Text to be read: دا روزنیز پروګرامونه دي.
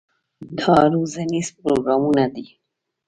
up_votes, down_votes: 2, 0